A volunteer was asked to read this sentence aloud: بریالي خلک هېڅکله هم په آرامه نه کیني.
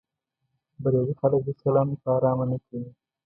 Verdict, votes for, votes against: rejected, 0, 2